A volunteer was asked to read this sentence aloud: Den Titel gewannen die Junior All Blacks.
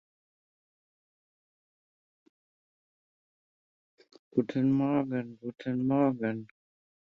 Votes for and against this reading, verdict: 0, 2, rejected